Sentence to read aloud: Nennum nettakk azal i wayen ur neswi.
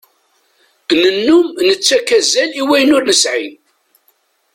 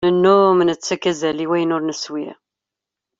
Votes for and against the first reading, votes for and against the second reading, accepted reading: 1, 2, 2, 0, second